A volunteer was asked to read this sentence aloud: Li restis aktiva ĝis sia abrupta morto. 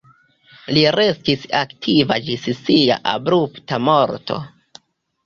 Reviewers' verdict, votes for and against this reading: accepted, 2, 1